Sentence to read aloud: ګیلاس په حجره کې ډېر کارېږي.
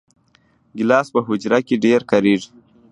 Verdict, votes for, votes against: rejected, 1, 2